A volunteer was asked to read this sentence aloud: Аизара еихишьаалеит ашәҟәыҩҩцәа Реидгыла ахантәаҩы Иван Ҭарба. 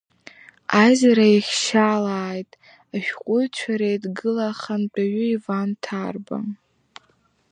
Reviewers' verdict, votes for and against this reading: accepted, 2, 0